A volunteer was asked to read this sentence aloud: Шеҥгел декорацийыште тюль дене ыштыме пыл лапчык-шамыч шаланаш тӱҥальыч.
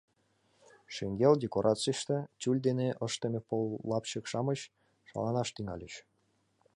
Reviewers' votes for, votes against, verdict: 2, 0, accepted